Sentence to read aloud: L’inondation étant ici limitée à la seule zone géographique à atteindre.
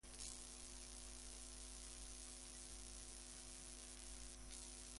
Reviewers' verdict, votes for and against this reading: rejected, 0, 2